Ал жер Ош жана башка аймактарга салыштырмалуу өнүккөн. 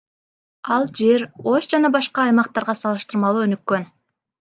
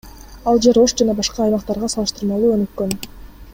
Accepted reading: second